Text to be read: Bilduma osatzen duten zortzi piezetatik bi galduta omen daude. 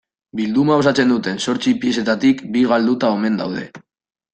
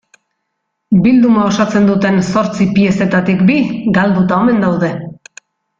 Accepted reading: second